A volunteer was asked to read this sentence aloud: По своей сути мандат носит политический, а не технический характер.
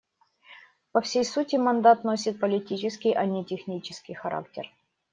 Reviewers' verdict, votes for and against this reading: rejected, 0, 2